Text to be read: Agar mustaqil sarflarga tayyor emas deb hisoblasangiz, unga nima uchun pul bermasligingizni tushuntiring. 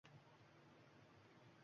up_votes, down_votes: 1, 2